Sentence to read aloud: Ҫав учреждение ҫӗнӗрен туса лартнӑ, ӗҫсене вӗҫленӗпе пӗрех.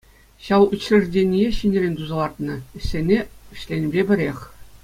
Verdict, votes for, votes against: accepted, 2, 1